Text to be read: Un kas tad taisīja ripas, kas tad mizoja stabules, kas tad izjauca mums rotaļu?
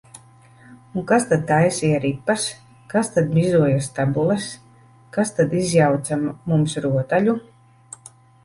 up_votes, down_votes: 1, 2